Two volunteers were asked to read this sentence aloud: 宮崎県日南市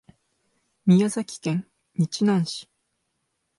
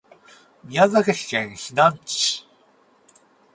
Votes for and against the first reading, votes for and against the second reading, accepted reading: 2, 0, 0, 4, first